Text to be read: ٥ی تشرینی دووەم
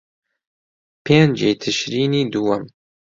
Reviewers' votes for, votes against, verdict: 0, 2, rejected